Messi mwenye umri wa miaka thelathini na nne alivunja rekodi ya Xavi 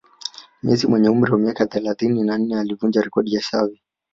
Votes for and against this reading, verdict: 0, 2, rejected